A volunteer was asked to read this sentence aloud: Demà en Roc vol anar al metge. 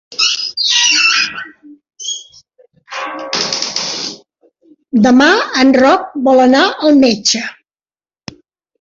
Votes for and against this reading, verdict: 1, 2, rejected